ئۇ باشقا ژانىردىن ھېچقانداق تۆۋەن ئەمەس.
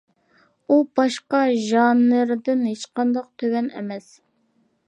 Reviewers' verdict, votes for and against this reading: accepted, 2, 0